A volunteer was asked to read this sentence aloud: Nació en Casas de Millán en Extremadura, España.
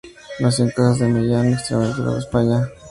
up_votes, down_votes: 2, 0